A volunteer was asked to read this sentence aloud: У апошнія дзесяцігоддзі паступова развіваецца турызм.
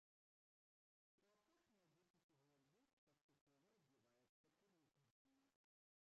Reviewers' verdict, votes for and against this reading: rejected, 0, 3